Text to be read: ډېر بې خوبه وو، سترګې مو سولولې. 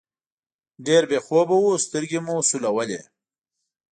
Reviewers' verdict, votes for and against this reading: accepted, 2, 0